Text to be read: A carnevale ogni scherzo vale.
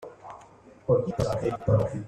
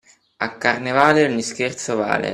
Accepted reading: second